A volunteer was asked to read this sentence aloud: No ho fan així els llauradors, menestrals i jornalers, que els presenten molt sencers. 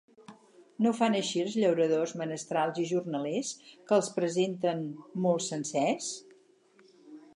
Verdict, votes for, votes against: accepted, 4, 0